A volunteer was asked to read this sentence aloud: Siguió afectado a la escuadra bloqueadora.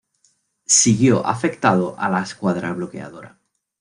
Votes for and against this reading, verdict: 2, 0, accepted